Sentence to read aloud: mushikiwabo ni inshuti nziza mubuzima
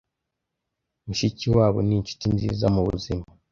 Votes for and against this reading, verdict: 2, 0, accepted